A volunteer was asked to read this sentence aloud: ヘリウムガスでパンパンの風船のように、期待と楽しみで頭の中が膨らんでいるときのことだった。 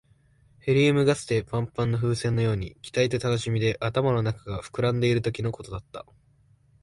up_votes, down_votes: 2, 0